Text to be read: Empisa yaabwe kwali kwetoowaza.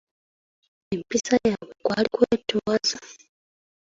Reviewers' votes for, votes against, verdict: 2, 0, accepted